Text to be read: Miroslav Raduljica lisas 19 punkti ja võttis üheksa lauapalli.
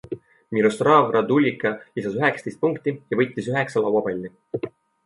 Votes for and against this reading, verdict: 0, 2, rejected